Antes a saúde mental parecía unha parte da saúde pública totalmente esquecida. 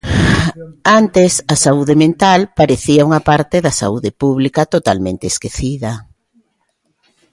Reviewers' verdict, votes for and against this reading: accepted, 2, 0